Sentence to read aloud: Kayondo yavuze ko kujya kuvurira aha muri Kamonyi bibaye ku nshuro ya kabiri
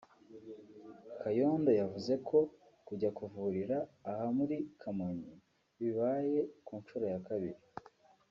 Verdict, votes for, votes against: accepted, 2, 0